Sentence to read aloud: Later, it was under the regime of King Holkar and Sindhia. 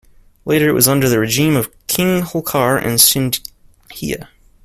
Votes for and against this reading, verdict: 2, 1, accepted